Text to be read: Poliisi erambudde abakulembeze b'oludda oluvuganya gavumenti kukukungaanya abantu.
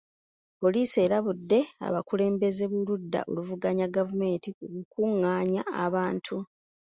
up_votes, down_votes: 0, 2